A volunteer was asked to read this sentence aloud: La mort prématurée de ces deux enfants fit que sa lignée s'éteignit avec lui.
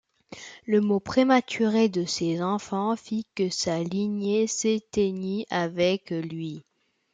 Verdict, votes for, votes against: rejected, 0, 2